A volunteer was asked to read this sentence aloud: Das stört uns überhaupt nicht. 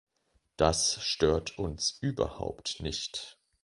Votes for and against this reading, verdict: 2, 0, accepted